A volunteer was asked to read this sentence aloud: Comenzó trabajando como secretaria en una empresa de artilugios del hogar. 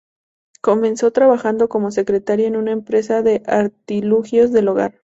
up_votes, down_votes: 2, 2